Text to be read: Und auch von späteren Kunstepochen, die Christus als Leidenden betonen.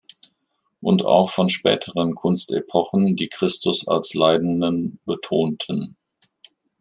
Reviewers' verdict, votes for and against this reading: rejected, 1, 2